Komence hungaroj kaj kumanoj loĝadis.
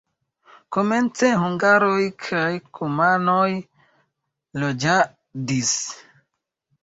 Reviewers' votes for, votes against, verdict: 2, 0, accepted